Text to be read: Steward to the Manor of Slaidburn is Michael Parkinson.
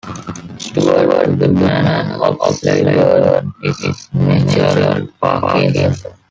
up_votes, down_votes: 0, 2